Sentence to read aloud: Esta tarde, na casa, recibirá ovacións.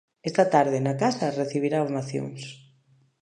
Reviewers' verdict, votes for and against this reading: rejected, 1, 2